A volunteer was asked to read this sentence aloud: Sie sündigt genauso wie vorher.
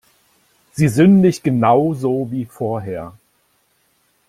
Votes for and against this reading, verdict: 2, 0, accepted